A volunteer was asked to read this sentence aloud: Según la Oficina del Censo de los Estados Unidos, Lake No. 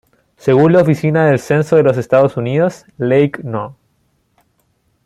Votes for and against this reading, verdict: 2, 0, accepted